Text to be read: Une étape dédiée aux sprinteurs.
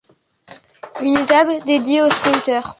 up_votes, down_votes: 2, 0